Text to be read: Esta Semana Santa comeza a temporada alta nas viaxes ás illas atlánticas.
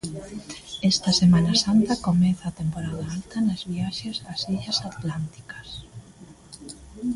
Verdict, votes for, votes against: accepted, 2, 0